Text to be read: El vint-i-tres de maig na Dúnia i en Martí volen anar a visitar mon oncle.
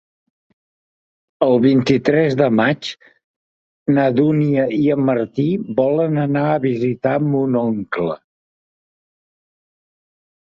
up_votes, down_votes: 4, 0